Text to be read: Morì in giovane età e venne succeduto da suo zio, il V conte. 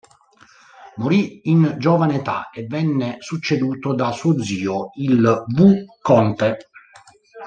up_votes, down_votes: 2, 3